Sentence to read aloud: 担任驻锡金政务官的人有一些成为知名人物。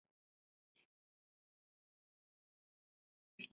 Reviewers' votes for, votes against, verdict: 0, 2, rejected